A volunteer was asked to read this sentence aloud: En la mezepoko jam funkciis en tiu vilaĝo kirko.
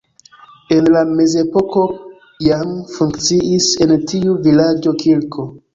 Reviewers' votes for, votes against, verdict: 2, 0, accepted